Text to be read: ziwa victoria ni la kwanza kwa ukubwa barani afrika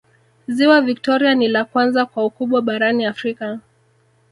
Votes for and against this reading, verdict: 1, 2, rejected